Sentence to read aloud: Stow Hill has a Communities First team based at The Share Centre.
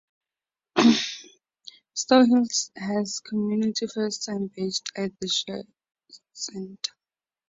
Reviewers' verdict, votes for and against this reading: rejected, 0, 2